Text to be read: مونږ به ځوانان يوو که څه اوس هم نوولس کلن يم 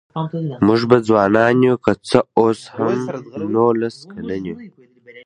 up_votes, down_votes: 2, 1